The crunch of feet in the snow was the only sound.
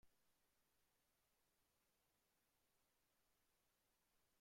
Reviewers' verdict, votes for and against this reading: rejected, 0, 2